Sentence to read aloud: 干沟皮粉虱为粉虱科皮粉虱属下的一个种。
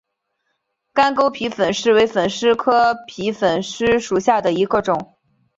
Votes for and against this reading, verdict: 2, 0, accepted